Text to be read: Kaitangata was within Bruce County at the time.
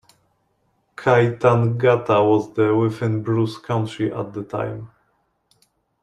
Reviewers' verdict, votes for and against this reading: rejected, 0, 2